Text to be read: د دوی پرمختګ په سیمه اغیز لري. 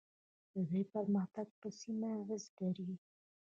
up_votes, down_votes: 2, 0